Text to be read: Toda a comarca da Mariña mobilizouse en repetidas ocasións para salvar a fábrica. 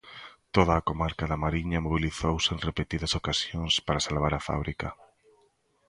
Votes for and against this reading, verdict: 2, 1, accepted